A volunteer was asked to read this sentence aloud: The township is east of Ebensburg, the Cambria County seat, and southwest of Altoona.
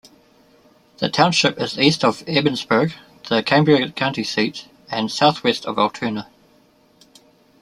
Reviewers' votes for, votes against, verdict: 2, 0, accepted